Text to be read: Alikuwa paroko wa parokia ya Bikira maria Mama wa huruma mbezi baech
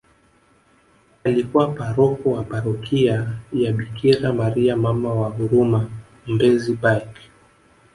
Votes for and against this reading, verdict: 2, 0, accepted